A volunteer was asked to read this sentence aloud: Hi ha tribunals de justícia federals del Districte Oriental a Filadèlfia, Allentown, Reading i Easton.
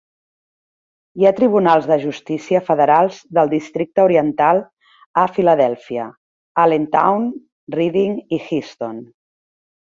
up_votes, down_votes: 1, 2